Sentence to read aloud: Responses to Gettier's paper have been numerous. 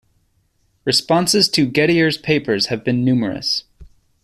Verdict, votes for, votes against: rejected, 0, 2